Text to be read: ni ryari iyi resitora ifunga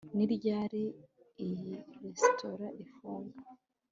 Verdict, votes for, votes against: accepted, 2, 0